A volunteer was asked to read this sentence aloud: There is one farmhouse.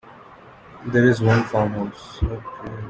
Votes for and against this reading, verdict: 2, 1, accepted